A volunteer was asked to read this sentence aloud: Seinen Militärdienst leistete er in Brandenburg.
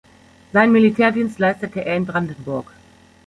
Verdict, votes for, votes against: rejected, 1, 2